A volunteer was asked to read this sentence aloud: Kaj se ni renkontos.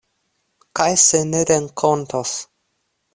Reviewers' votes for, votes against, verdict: 1, 2, rejected